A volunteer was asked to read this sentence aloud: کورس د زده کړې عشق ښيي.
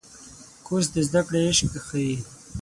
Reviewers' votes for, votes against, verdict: 0, 6, rejected